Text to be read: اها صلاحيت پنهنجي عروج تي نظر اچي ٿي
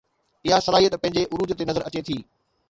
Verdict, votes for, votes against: accepted, 2, 0